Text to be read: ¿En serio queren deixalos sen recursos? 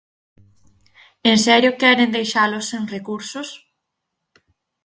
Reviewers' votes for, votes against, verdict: 4, 0, accepted